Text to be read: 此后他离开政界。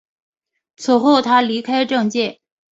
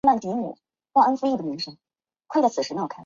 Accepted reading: first